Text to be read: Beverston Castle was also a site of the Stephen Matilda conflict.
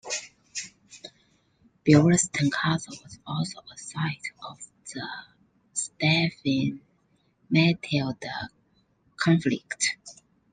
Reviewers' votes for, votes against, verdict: 0, 2, rejected